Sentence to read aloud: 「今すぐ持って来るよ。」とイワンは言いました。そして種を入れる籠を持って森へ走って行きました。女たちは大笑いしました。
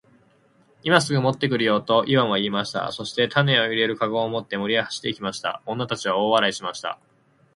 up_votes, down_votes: 8, 0